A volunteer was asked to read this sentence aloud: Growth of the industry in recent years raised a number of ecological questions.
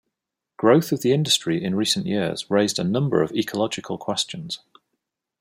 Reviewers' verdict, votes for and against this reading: accepted, 2, 0